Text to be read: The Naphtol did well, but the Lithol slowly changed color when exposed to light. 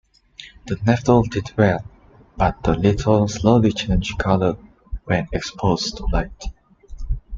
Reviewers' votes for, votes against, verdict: 2, 1, accepted